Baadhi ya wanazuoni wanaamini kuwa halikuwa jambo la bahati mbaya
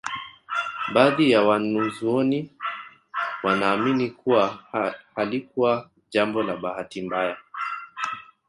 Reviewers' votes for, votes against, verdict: 0, 2, rejected